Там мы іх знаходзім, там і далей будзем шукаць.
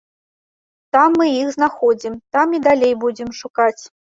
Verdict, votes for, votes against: accepted, 2, 0